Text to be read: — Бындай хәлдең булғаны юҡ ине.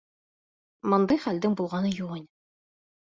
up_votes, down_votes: 2, 1